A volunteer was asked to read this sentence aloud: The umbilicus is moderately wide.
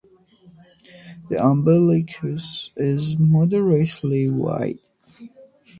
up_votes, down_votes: 2, 0